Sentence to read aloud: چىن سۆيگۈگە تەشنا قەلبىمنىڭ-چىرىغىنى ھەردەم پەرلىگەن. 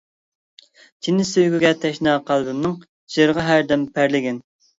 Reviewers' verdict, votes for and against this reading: rejected, 0, 2